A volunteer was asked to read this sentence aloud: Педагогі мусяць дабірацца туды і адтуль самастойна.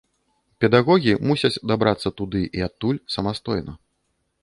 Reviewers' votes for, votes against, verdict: 1, 2, rejected